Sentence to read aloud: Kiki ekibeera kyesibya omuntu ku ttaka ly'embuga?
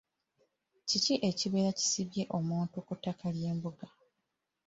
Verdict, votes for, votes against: accepted, 2, 1